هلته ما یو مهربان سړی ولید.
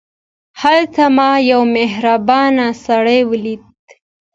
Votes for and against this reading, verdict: 2, 0, accepted